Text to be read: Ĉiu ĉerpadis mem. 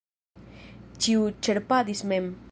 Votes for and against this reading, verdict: 1, 2, rejected